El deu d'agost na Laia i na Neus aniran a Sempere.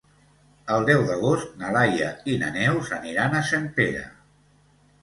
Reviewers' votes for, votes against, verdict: 2, 0, accepted